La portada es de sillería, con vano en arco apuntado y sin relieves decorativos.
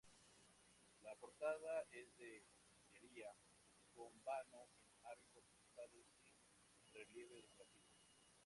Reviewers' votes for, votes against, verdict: 0, 2, rejected